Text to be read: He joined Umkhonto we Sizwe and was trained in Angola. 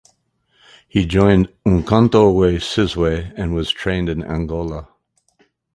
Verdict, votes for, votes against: rejected, 2, 2